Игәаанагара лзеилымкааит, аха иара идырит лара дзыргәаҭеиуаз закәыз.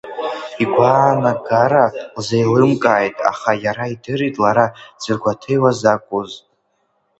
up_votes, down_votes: 0, 2